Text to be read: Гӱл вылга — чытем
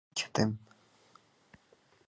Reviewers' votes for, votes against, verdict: 1, 2, rejected